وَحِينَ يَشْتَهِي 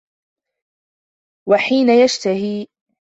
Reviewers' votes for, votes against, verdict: 2, 0, accepted